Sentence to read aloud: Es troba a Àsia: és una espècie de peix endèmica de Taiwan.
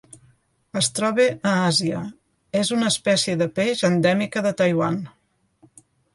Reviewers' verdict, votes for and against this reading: accepted, 2, 0